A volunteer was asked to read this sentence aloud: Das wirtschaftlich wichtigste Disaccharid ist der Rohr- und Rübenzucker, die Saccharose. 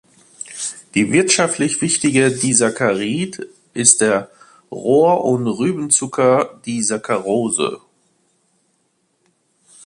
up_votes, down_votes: 0, 2